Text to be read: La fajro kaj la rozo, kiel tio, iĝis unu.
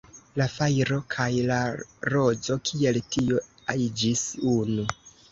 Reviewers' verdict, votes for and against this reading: rejected, 1, 2